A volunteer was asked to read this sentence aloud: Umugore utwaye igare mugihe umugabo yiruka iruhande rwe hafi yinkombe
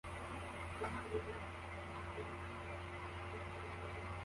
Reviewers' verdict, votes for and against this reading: rejected, 0, 2